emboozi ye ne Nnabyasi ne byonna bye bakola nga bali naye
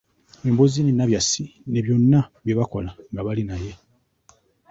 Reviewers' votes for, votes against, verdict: 2, 1, accepted